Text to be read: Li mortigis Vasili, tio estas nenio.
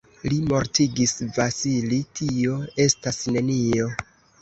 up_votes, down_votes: 2, 0